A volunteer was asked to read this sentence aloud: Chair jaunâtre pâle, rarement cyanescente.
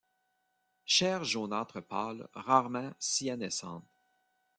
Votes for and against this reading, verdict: 1, 2, rejected